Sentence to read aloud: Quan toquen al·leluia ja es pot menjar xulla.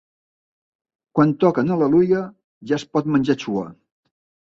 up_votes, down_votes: 4, 2